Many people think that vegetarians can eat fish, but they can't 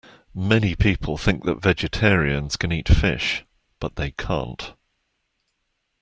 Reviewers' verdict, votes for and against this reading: accepted, 2, 0